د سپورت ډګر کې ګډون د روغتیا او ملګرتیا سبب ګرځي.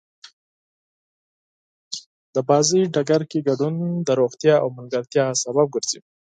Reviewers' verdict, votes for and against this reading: rejected, 0, 4